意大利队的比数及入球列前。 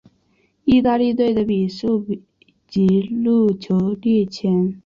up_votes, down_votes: 2, 0